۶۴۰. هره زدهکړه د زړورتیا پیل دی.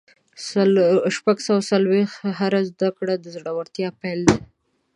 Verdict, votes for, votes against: rejected, 0, 2